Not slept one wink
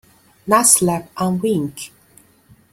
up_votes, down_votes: 0, 2